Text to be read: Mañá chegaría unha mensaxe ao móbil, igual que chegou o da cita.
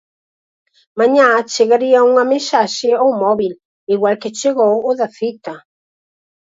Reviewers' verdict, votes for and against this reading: accepted, 4, 2